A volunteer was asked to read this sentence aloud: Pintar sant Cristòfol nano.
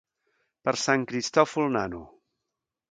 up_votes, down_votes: 1, 2